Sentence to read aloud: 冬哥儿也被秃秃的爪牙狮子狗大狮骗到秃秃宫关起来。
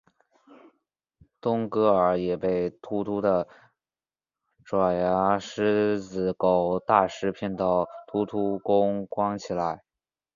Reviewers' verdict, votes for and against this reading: accepted, 2, 1